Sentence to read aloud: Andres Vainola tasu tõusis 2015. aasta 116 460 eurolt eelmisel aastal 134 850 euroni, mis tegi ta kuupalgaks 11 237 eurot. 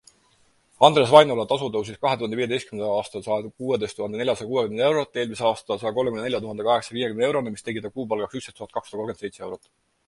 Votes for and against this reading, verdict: 0, 2, rejected